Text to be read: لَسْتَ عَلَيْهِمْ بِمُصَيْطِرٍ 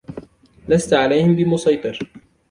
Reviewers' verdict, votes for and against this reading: rejected, 1, 2